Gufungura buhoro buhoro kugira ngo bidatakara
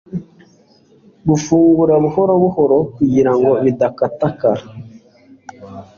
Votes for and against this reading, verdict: 2, 0, accepted